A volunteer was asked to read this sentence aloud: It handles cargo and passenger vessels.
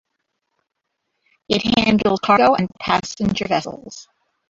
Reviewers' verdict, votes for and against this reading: rejected, 0, 2